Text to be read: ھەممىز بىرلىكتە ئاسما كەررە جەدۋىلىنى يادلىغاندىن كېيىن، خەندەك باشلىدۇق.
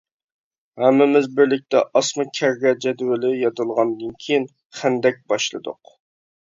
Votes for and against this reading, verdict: 0, 2, rejected